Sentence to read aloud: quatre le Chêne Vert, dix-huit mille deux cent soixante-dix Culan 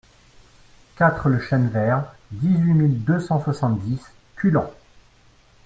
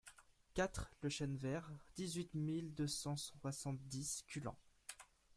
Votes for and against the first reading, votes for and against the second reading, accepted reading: 2, 0, 1, 2, first